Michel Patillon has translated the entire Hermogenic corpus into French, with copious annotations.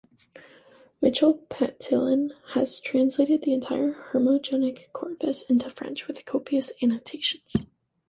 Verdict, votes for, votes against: accepted, 2, 0